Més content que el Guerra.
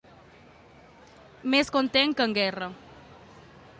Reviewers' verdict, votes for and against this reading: accepted, 2, 1